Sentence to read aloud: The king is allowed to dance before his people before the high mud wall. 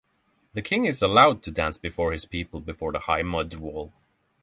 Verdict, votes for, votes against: accepted, 6, 0